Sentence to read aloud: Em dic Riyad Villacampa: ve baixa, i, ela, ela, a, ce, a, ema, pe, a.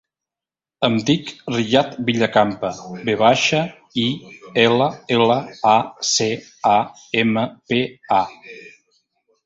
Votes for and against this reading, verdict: 2, 1, accepted